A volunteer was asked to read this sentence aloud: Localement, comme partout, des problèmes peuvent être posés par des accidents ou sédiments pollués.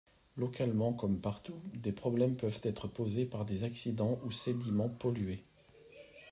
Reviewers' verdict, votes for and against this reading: accepted, 2, 0